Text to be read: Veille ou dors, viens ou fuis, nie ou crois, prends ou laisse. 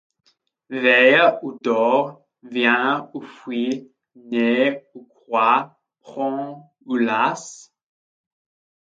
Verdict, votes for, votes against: rejected, 0, 2